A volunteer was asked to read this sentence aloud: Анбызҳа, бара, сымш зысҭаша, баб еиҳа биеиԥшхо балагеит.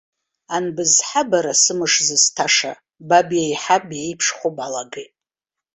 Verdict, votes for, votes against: accepted, 2, 1